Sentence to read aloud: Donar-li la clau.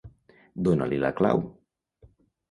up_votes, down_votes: 1, 3